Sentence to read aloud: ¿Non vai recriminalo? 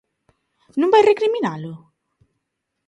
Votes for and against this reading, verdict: 2, 0, accepted